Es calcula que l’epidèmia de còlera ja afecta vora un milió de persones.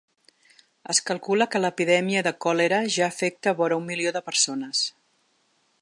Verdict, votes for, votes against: accepted, 3, 0